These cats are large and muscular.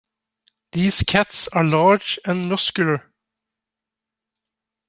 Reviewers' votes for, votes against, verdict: 2, 0, accepted